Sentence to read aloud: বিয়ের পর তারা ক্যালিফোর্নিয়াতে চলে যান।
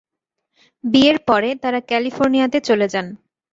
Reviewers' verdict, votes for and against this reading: rejected, 1, 2